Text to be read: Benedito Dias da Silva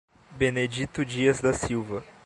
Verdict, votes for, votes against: accepted, 2, 0